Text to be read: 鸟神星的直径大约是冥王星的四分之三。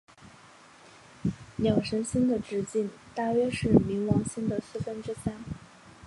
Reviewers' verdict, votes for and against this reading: accepted, 7, 2